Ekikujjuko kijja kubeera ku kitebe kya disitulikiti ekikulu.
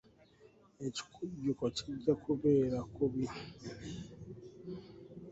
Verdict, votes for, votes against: rejected, 0, 2